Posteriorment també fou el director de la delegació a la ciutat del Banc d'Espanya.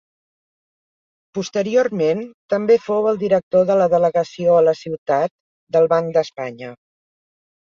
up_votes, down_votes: 3, 0